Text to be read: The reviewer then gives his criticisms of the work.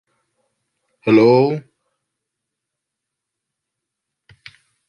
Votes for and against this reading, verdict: 0, 3, rejected